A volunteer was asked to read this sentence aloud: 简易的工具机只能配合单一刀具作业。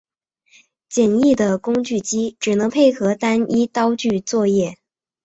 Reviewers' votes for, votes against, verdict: 2, 1, accepted